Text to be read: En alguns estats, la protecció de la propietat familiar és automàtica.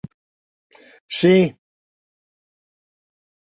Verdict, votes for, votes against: rejected, 0, 2